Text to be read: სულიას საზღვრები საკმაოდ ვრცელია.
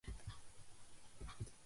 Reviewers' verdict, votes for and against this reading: rejected, 0, 2